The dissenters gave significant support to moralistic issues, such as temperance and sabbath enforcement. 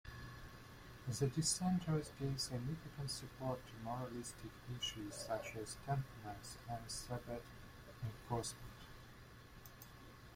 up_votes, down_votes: 1, 2